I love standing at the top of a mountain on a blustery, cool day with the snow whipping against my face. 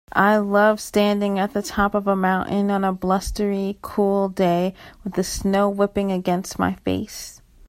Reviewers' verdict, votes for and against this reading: accepted, 2, 0